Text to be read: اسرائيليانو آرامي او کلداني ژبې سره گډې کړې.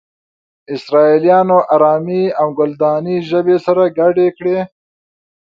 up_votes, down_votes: 2, 0